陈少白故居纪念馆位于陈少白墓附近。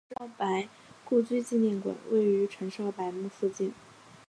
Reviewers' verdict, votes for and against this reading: rejected, 1, 2